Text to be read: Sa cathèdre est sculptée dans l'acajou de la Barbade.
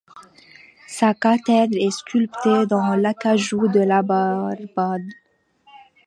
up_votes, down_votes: 2, 0